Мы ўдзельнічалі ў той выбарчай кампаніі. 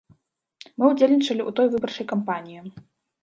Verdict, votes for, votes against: accepted, 2, 0